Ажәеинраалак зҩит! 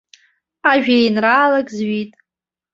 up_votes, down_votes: 2, 0